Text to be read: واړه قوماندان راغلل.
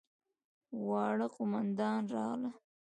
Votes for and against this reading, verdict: 1, 2, rejected